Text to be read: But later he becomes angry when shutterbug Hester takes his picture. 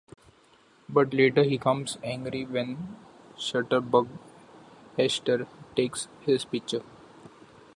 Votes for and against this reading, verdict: 0, 2, rejected